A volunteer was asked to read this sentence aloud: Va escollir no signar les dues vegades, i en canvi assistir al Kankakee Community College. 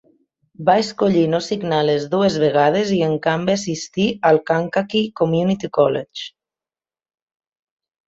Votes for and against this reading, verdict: 1, 2, rejected